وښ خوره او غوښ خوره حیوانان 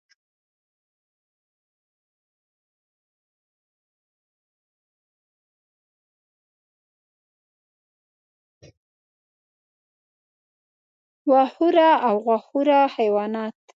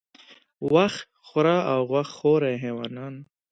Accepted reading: second